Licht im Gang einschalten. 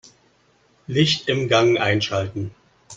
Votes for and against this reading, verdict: 2, 0, accepted